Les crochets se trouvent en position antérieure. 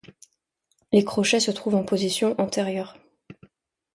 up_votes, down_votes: 3, 0